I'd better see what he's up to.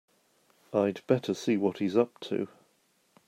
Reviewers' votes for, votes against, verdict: 4, 0, accepted